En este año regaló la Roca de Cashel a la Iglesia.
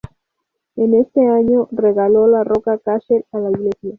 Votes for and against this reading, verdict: 2, 4, rejected